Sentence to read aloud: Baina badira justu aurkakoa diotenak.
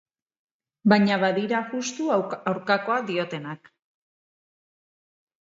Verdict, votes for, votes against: rejected, 0, 2